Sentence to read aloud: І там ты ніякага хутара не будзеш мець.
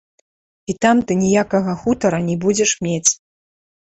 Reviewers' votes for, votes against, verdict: 2, 0, accepted